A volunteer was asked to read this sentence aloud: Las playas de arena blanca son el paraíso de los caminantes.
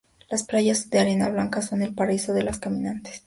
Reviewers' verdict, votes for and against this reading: accepted, 4, 2